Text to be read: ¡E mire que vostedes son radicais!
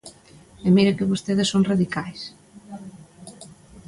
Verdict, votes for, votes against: accepted, 2, 0